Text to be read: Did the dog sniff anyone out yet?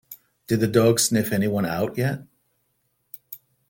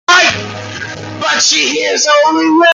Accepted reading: first